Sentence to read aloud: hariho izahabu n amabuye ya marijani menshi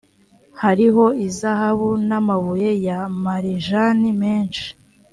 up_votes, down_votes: 2, 0